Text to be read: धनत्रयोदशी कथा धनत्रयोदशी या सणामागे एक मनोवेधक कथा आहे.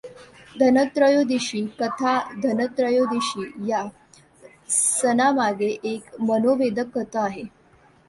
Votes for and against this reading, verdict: 2, 1, accepted